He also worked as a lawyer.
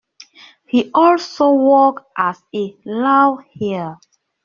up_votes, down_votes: 0, 2